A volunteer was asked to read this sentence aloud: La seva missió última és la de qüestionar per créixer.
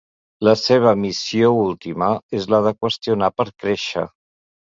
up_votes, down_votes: 3, 0